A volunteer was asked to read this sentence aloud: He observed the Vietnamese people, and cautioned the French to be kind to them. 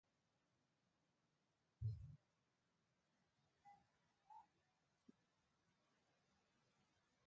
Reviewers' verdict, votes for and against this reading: rejected, 0, 2